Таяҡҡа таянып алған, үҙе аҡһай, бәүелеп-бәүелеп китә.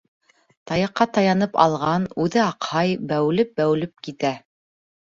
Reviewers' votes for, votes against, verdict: 2, 0, accepted